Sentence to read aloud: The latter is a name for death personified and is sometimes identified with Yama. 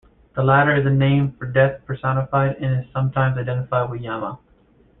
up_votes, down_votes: 2, 1